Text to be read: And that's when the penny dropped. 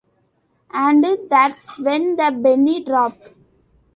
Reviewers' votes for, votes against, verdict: 0, 2, rejected